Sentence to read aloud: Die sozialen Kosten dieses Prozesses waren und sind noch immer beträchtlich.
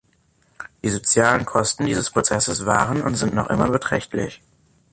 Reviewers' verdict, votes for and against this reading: accepted, 3, 1